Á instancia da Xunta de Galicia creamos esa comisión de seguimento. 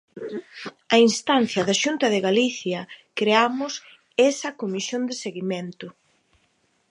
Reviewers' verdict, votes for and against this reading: accepted, 2, 0